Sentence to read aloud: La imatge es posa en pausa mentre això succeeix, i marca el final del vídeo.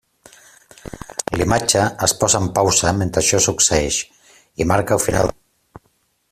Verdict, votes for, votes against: rejected, 0, 2